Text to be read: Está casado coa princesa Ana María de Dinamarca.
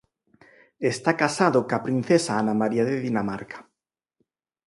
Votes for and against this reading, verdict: 4, 0, accepted